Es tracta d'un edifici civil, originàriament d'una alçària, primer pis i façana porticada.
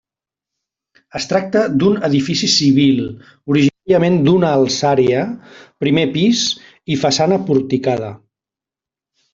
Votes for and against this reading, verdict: 1, 2, rejected